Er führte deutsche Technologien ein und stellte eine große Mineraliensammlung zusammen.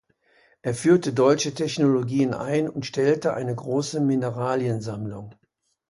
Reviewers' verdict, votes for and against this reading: rejected, 0, 2